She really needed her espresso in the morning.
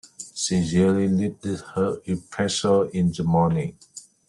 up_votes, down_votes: 0, 2